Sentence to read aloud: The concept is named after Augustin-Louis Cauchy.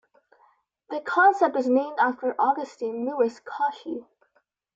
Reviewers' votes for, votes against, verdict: 1, 2, rejected